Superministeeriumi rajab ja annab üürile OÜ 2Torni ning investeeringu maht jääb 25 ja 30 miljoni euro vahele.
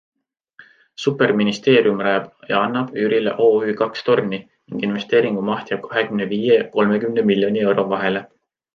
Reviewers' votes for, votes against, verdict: 0, 2, rejected